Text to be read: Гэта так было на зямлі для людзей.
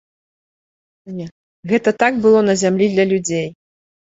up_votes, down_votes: 1, 2